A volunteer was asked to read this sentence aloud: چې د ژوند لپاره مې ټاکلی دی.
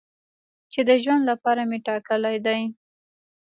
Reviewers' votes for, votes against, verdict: 2, 1, accepted